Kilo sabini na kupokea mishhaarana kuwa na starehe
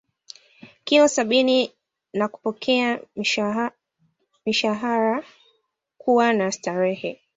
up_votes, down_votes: 2, 0